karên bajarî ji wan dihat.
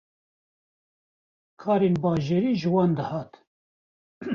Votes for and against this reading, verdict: 1, 2, rejected